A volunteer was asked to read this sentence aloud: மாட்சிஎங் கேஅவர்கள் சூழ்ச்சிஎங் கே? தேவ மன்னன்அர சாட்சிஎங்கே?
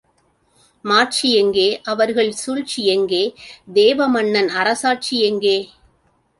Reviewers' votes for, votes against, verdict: 2, 0, accepted